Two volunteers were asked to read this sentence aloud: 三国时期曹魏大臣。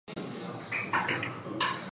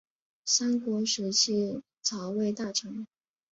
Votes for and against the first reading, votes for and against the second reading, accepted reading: 0, 5, 7, 0, second